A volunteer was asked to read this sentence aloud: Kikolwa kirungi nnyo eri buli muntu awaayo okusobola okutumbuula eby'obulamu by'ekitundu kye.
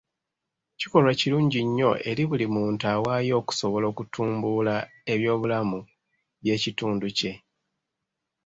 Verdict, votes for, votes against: accepted, 2, 0